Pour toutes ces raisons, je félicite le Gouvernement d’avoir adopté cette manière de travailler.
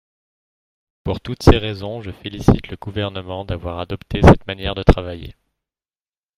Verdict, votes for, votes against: rejected, 1, 2